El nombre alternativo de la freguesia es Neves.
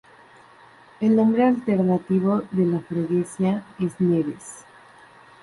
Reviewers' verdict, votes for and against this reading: accepted, 2, 0